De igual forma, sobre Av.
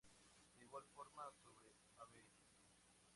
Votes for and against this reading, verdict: 0, 2, rejected